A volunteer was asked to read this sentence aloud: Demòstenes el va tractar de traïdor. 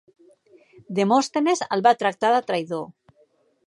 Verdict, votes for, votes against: accepted, 2, 0